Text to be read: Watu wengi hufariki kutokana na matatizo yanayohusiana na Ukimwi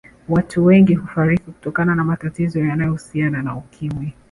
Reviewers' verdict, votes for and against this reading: rejected, 1, 2